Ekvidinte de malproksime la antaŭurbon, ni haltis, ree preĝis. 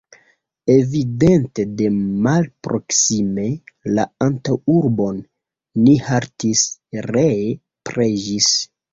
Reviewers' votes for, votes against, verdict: 1, 2, rejected